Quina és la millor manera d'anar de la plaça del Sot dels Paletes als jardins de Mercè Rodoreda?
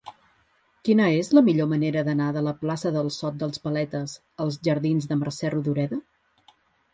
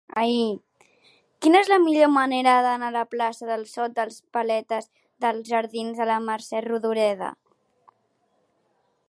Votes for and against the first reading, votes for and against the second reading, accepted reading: 4, 0, 0, 2, first